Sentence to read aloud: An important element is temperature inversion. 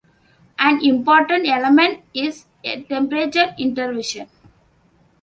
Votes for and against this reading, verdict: 0, 2, rejected